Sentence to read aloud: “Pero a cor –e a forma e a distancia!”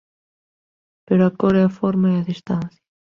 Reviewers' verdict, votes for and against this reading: accepted, 2, 0